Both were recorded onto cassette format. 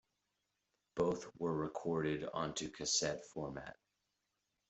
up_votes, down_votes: 1, 2